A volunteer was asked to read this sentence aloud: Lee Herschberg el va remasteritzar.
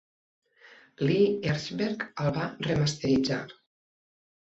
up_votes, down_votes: 2, 0